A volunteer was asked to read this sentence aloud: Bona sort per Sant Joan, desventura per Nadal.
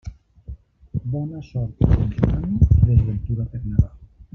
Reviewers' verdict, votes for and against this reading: rejected, 3, 4